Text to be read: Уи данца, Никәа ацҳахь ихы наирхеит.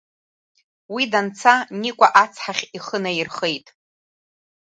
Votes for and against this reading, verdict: 2, 0, accepted